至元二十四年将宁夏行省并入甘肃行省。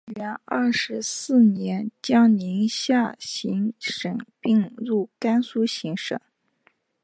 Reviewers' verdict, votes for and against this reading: accepted, 6, 0